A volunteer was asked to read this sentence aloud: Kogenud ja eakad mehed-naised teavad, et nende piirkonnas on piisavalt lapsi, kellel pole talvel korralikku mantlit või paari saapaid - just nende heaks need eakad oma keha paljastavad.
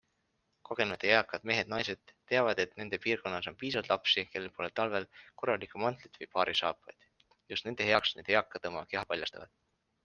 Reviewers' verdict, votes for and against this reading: accepted, 2, 0